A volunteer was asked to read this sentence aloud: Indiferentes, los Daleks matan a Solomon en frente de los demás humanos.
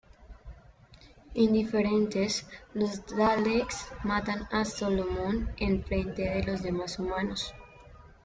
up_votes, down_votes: 2, 0